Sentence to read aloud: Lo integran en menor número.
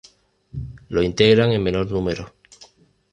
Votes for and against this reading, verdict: 2, 0, accepted